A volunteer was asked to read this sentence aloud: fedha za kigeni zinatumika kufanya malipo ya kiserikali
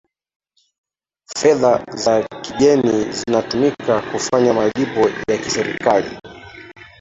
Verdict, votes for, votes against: accepted, 2, 0